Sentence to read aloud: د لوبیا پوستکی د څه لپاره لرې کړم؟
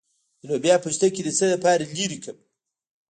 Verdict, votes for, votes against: rejected, 1, 2